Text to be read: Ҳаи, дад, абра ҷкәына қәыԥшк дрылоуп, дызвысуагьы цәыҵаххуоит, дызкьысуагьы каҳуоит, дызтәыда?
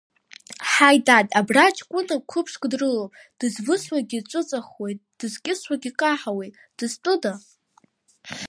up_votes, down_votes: 1, 2